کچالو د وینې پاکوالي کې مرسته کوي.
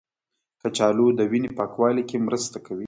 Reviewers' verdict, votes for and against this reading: accepted, 2, 0